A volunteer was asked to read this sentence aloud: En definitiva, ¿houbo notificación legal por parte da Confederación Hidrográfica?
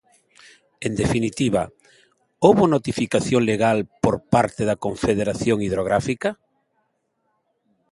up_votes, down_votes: 2, 0